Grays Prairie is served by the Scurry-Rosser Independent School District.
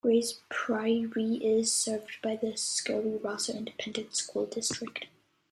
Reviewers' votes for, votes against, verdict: 2, 0, accepted